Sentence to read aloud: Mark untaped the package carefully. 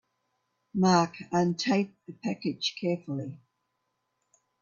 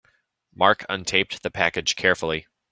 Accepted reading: second